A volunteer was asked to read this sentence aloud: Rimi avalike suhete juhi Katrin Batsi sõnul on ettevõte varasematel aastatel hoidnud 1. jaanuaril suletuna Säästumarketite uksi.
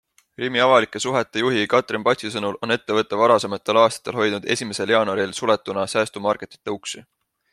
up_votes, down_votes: 0, 2